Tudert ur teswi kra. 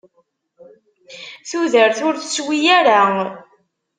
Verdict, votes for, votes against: rejected, 0, 2